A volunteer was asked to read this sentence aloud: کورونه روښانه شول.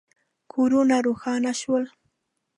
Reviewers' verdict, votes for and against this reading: accepted, 2, 0